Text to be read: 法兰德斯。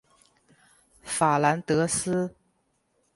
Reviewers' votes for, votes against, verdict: 14, 0, accepted